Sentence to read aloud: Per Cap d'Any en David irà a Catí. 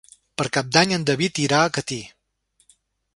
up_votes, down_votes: 3, 0